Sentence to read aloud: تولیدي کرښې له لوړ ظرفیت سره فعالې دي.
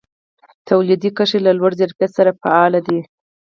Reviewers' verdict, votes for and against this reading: rejected, 2, 4